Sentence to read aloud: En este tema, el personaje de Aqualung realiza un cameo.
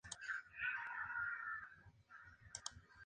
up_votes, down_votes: 0, 2